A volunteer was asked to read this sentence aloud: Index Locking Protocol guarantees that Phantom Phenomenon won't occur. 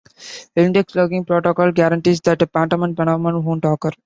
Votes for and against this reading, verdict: 0, 2, rejected